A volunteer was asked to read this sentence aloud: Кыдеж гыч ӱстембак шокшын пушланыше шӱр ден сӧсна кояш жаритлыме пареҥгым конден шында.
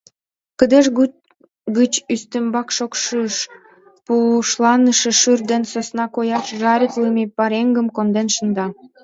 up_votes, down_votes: 0, 2